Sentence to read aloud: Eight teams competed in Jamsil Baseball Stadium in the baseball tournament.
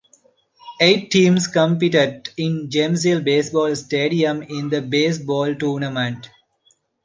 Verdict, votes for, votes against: accepted, 2, 0